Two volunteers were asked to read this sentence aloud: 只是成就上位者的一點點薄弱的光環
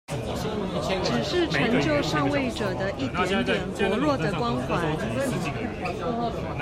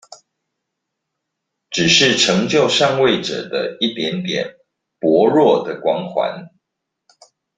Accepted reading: second